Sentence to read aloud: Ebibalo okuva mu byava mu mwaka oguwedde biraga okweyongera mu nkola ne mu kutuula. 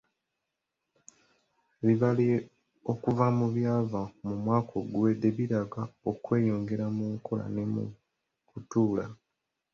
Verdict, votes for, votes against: accepted, 3, 0